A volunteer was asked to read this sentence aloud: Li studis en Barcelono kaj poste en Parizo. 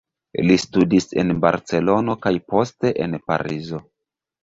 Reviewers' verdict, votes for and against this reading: accepted, 2, 1